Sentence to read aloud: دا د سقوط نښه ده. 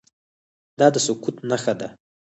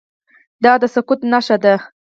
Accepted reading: first